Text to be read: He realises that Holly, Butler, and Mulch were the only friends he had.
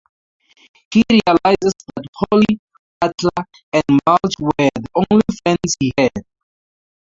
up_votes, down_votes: 0, 2